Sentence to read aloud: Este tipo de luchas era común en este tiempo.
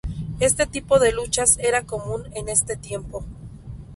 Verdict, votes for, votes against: accepted, 4, 0